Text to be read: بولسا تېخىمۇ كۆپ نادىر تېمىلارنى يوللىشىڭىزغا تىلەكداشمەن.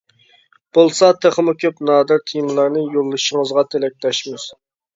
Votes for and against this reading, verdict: 0, 2, rejected